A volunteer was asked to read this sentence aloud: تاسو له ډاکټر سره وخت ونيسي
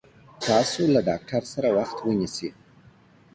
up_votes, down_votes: 2, 1